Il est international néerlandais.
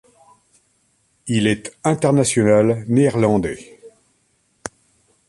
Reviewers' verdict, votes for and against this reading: accepted, 2, 0